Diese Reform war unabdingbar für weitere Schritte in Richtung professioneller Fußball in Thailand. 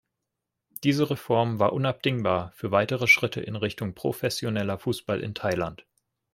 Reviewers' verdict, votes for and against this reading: accepted, 2, 0